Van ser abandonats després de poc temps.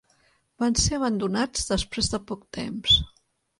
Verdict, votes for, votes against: accepted, 2, 0